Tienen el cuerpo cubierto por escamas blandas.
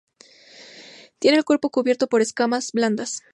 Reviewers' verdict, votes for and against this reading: rejected, 0, 2